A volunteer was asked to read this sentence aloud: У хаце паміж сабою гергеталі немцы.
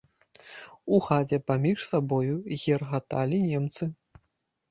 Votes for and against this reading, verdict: 1, 2, rejected